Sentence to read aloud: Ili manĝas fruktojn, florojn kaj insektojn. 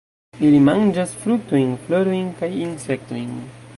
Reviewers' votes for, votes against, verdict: 2, 0, accepted